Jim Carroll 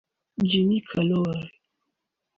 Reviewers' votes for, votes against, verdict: 2, 0, accepted